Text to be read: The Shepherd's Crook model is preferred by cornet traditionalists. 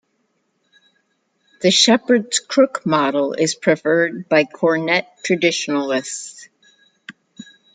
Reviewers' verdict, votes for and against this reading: accepted, 2, 0